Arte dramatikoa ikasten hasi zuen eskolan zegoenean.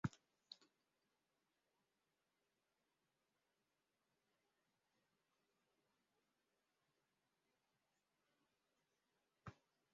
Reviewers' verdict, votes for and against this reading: rejected, 0, 4